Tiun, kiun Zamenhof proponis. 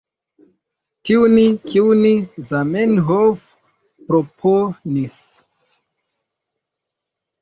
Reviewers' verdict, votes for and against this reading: rejected, 0, 2